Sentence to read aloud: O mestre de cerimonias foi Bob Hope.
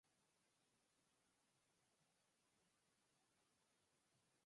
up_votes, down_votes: 0, 4